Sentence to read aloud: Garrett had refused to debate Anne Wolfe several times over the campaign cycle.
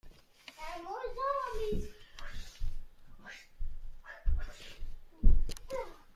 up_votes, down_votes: 0, 2